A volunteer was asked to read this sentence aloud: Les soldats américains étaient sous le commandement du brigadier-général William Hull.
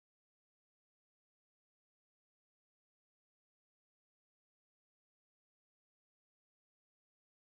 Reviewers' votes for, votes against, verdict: 0, 2, rejected